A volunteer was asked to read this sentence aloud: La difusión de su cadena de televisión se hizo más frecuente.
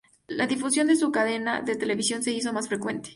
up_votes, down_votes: 2, 0